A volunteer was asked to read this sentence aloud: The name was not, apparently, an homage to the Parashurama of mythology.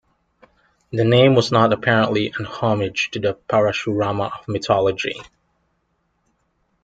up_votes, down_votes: 0, 2